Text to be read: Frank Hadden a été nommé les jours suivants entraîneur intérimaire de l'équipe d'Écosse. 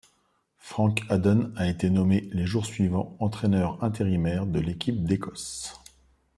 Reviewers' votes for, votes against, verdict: 2, 0, accepted